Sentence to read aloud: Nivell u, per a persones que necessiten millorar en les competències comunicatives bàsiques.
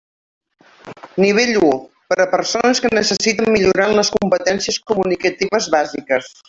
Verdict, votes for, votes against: accepted, 2, 0